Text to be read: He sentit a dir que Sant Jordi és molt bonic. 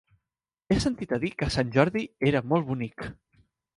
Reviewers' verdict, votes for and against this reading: rejected, 1, 2